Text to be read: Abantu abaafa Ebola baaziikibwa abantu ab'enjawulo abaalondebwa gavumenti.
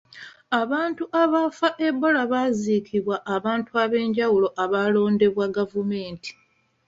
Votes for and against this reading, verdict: 2, 0, accepted